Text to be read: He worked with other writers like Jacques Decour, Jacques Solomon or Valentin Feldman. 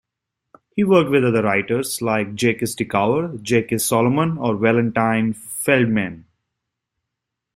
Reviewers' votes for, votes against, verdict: 0, 2, rejected